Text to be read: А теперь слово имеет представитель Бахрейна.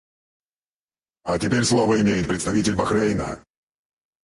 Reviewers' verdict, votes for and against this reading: rejected, 2, 2